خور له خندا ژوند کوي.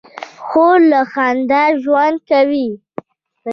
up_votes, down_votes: 2, 0